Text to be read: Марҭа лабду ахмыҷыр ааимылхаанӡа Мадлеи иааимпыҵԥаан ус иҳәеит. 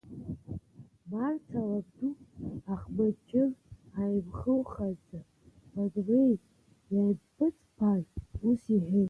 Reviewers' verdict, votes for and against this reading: rejected, 1, 2